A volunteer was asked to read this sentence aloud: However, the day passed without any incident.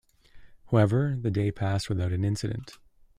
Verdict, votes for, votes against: rejected, 0, 2